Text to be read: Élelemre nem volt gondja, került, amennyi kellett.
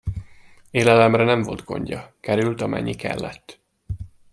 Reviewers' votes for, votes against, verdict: 2, 0, accepted